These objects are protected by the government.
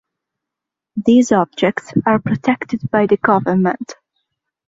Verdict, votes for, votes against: accepted, 2, 0